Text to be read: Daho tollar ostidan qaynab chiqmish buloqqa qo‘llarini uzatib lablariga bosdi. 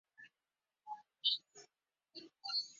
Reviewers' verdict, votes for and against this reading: rejected, 0, 2